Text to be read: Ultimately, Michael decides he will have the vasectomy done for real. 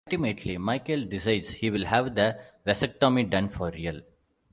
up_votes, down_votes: 2, 1